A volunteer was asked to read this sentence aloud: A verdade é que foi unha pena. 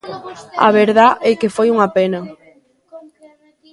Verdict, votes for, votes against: rejected, 0, 2